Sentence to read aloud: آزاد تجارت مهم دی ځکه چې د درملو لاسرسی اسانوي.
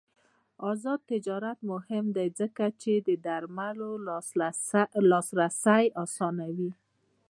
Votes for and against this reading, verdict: 2, 0, accepted